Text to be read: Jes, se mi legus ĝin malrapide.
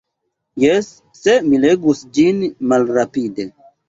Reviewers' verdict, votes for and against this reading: accepted, 2, 0